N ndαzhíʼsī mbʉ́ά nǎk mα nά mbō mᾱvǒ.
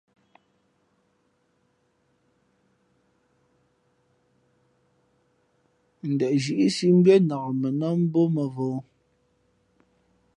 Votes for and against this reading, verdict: 2, 0, accepted